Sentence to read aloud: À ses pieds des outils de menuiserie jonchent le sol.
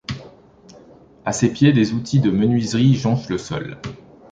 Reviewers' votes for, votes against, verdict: 2, 0, accepted